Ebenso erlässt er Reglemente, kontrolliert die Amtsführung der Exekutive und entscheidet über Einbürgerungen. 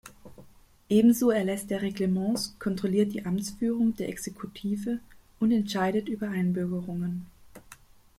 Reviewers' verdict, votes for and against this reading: rejected, 0, 2